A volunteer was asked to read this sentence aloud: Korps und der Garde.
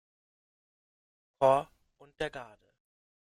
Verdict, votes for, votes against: rejected, 1, 2